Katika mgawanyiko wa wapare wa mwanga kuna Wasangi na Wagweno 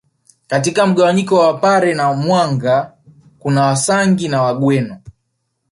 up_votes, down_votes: 1, 2